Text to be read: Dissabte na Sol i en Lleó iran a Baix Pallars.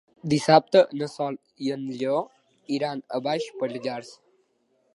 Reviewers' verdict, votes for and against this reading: accepted, 2, 1